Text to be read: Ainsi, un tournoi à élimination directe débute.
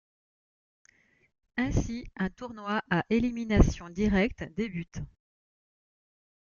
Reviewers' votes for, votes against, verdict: 0, 2, rejected